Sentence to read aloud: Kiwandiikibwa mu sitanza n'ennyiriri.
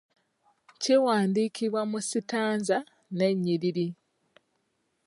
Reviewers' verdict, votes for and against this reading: accepted, 2, 0